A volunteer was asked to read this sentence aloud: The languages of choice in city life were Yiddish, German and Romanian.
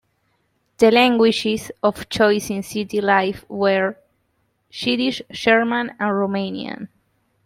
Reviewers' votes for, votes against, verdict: 1, 2, rejected